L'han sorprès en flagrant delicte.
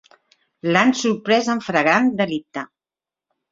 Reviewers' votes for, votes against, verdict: 0, 2, rejected